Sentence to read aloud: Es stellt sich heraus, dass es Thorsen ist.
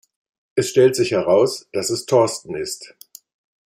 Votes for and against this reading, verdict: 1, 2, rejected